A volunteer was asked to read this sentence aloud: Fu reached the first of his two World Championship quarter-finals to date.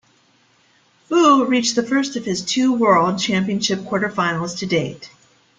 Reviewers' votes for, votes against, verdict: 2, 0, accepted